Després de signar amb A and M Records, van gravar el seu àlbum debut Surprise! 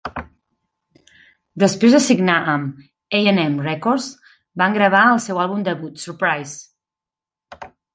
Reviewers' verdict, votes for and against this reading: rejected, 1, 2